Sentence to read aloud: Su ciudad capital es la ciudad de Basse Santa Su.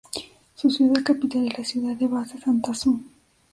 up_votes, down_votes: 2, 1